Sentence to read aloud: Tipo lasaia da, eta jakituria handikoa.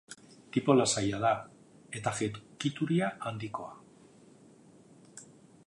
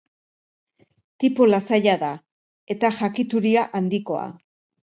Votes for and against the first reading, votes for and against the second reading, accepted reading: 0, 3, 3, 0, second